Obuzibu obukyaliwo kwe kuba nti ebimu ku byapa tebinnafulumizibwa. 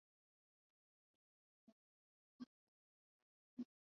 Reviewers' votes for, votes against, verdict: 0, 2, rejected